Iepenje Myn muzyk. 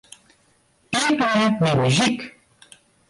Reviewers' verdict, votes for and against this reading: rejected, 0, 2